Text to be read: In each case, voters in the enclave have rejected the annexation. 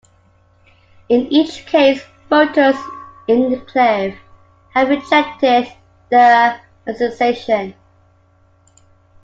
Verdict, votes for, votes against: rejected, 0, 2